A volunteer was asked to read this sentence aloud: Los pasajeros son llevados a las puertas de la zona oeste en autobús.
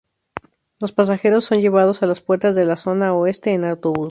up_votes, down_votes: 0, 2